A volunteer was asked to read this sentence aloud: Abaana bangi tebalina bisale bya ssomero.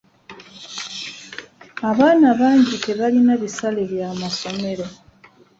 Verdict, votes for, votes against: rejected, 1, 2